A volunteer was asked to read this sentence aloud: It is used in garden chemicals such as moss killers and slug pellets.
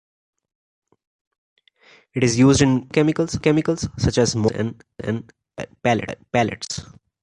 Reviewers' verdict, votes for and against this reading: rejected, 0, 2